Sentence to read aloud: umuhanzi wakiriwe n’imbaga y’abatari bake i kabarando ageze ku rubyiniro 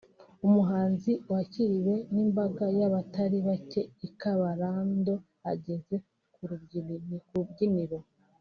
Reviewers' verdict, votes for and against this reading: rejected, 0, 2